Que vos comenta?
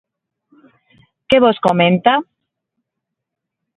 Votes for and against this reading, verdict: 6, 0, accepted